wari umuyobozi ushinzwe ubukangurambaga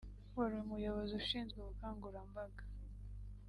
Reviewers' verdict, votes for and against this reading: accepted, 3, 1